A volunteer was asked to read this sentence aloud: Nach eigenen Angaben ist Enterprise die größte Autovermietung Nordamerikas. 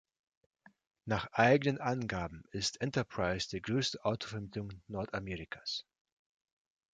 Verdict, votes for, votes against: accepted, 2, 0